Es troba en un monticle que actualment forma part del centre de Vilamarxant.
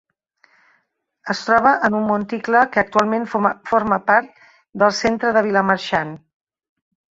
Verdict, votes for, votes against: rejected, 0, 2